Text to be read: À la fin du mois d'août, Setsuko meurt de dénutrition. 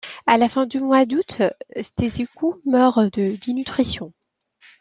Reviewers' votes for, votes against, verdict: 1, 2, rejected